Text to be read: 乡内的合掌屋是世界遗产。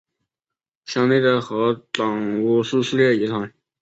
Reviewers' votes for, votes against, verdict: 3, 0, accepted